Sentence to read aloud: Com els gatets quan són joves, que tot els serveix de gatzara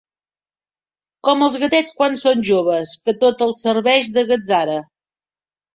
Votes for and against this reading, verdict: 2, 0, accepted